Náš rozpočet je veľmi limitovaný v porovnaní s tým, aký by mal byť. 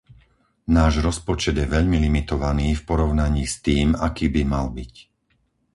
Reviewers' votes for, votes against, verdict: 4, 0, accepted